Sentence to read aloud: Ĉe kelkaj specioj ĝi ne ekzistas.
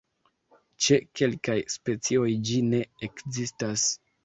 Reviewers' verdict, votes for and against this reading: accepted, 2, 0